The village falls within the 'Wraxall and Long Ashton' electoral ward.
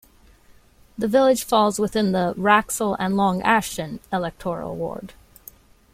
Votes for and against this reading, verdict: 2, 0, accepted